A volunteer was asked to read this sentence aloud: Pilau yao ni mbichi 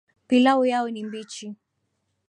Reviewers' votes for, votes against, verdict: 1, 2, rejected